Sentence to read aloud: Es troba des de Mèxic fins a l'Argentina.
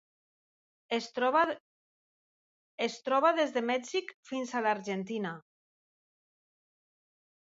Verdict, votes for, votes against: rejected, 0, 2